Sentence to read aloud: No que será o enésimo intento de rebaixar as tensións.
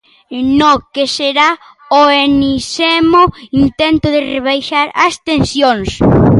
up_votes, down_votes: 0, 2